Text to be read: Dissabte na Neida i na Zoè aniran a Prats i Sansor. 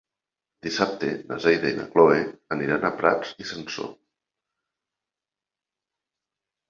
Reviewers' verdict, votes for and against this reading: rejected, 1, 2